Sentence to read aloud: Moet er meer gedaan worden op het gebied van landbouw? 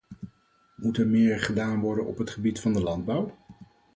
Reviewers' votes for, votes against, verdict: 0, 4, rejected